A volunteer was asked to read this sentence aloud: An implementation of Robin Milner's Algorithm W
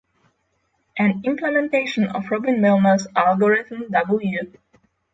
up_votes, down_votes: 0, 3